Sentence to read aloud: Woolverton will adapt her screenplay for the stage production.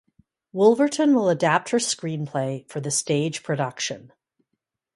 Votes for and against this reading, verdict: 0, 2, rejected